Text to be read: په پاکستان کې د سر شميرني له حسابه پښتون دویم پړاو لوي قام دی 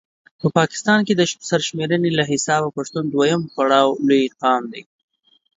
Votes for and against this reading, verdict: 2, 0, accepted